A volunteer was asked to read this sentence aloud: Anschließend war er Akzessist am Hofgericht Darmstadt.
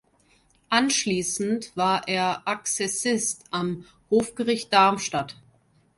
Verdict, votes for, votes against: accepted, 2, 0